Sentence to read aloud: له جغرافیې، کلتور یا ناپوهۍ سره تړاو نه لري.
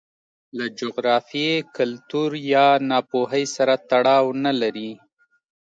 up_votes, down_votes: 2, 0